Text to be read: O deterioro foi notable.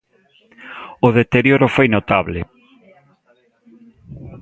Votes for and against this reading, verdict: 2, 0, accepted